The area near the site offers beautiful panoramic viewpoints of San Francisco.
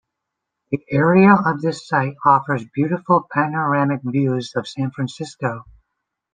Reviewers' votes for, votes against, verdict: 0, 2, rejected